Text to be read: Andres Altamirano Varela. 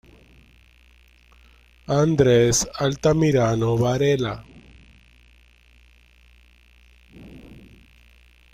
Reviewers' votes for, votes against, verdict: 2, 1, accepted